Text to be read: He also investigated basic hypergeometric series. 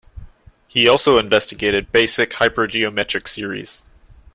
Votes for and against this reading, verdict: 2, 0, accepted